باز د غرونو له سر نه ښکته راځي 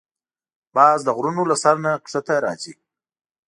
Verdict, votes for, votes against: accepted, 2, 0